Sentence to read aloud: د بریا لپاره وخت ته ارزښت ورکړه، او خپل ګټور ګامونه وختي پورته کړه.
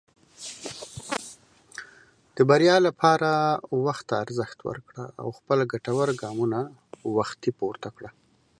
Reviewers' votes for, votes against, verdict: 2, 0, accepted